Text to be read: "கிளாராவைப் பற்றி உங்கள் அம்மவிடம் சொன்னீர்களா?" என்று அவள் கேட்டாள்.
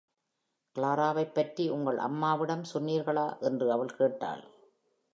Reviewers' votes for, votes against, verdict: 2, 0, accepted